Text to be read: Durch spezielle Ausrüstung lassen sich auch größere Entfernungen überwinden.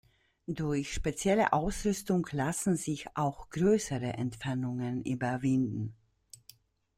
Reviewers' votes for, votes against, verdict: 2, 0, accepted